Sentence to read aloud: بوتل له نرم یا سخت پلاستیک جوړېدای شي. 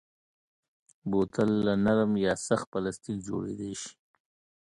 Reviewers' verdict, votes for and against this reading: accepted, 2, 0